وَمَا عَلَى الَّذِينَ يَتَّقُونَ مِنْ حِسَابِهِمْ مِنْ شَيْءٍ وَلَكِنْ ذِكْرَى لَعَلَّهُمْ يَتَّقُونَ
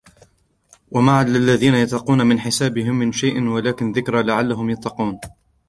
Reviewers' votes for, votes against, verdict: 2, 0, accepted